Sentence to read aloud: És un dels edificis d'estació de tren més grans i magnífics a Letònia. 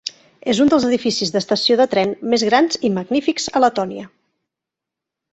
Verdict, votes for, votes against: accepted, 3, 0